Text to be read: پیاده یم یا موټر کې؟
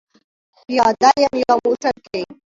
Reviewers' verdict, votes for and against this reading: rejected, 0, 2